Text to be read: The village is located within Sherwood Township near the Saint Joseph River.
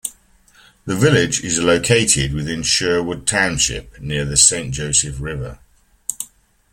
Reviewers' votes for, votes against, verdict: 2, 0, accepted